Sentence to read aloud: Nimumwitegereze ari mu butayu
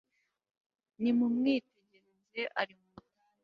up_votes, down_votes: 0, 2